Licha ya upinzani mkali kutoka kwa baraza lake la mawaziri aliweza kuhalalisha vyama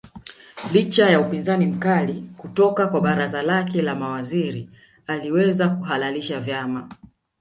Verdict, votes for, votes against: rejected, 1, 2